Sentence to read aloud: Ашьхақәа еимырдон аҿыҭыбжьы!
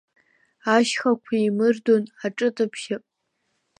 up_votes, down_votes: 2, 0